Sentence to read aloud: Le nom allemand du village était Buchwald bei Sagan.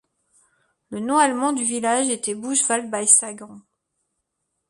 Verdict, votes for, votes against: rejected, 1, 2